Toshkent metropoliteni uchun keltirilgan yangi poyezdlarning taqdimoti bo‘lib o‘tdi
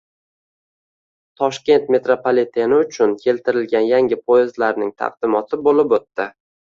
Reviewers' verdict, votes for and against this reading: accepted, 2, 1